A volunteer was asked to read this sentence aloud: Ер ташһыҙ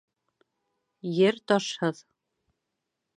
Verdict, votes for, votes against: accepted, 2, 0